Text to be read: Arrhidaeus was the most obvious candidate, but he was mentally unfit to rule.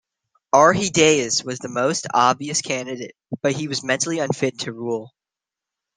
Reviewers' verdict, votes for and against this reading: accepted, 2, 0